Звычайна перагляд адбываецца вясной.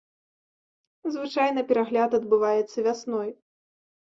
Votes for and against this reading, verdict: 0, 2, rejected